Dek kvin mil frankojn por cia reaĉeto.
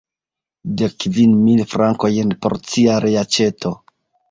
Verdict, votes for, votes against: accepted, 2, 1